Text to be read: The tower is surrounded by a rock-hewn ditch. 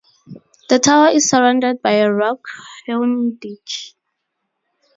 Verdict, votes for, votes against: accepted, 2, 0